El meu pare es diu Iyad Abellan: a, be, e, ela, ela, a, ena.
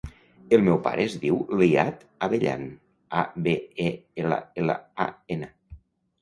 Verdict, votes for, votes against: rejected, 1, 2